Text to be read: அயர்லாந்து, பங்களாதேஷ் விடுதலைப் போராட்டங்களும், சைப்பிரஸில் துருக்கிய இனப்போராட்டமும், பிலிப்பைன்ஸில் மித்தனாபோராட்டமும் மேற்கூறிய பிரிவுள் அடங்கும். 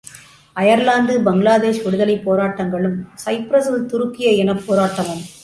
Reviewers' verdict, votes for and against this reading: rejected, 0, 2